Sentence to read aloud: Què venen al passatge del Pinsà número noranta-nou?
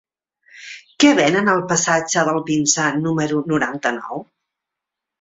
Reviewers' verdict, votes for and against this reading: accepted, 3, 0